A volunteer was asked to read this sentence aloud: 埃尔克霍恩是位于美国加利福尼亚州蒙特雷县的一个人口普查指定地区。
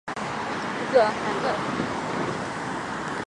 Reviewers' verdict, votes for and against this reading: rejected, 1, 2